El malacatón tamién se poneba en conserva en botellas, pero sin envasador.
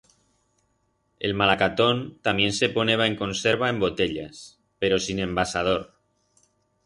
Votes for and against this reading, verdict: 4, 0, accepted